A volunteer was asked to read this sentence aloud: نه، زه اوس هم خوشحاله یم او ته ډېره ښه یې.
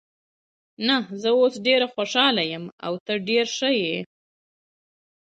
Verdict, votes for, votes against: accepted, 3, 0